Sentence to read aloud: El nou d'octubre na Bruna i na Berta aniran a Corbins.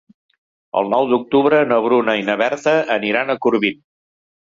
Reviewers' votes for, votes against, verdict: 1, 2, rejected